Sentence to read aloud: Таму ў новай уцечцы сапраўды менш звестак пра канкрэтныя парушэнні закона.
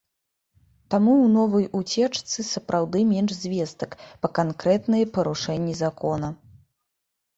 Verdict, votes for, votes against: rejected, 0, 2